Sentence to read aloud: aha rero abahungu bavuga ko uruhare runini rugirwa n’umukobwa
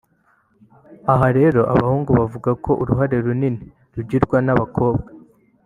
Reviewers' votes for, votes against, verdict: 1, 2, rejected